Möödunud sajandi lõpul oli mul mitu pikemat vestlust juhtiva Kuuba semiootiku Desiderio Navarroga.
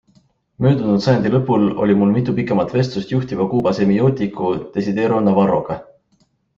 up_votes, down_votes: 2, 0